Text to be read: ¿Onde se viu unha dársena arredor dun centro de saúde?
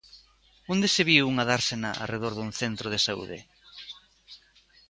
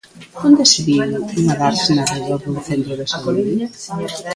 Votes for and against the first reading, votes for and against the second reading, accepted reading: 2, 0, 0, 2, first